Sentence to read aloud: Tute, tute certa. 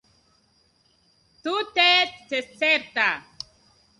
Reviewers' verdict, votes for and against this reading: rejected, 1, 2